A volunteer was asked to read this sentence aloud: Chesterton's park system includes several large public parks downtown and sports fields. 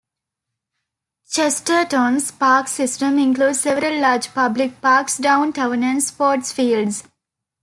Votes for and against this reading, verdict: 2, 0, accepted